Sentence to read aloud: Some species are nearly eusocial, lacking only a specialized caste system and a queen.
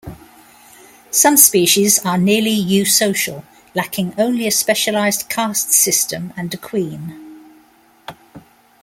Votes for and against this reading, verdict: 2, 0, accepted